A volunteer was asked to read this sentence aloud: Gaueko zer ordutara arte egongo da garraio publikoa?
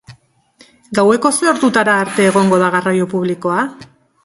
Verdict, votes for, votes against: accepted, 2, 0